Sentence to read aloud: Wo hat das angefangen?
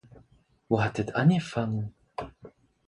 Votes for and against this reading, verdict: 0, 4, rejected